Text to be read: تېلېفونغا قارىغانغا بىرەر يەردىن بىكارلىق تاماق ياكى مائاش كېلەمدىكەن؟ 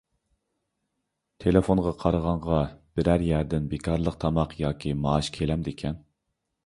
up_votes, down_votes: 2, 0